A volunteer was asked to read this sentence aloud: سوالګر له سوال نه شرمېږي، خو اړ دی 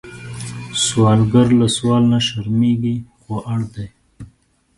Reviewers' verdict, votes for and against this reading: accepted, 2, 0